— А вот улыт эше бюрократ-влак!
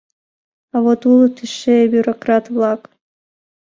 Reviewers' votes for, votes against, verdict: 2, 0, accepted